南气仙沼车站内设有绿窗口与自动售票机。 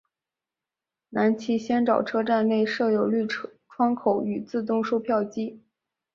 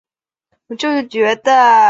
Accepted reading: first